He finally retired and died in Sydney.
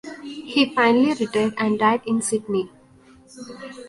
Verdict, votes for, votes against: rejected, 0, 2